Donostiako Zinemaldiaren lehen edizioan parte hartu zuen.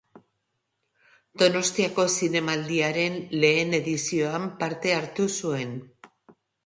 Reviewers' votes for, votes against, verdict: 2, 0, accepted